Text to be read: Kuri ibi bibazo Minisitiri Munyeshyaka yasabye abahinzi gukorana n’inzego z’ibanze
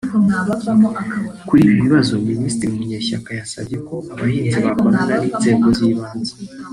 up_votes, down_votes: 4, 0